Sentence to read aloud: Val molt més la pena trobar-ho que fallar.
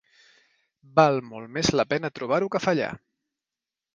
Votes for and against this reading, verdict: 3, 0, accepted